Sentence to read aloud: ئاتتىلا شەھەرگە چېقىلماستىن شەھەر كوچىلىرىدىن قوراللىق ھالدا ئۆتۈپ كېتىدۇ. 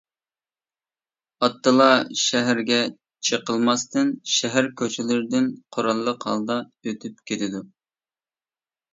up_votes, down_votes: 2, 0